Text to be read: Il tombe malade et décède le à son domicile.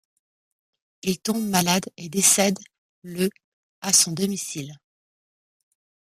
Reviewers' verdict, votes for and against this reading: accepted, 2, 0